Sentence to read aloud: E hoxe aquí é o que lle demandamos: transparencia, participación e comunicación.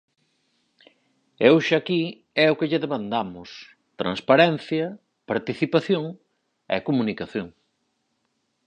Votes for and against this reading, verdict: 4, 2, accepted